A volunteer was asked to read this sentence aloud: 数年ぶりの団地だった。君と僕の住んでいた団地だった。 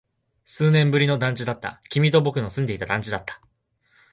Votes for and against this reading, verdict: 6, 0, accepted